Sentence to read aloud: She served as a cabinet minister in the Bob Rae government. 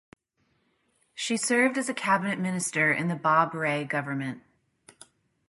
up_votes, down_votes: 2, 0